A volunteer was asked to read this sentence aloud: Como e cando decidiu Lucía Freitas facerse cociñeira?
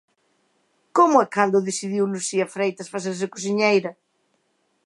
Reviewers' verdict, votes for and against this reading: accepted, 2, 0